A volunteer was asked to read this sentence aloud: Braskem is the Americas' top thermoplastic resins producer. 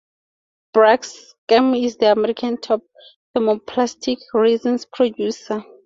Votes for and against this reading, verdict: 0, 4, rejected